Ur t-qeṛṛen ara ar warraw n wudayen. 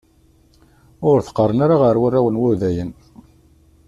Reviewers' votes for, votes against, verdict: 2, 1, accepted